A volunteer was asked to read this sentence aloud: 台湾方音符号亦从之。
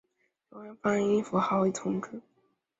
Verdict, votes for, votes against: rejected, 1, 2